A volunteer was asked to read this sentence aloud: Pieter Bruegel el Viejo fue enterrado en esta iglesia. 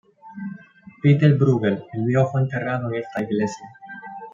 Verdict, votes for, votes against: rejected, 1, 2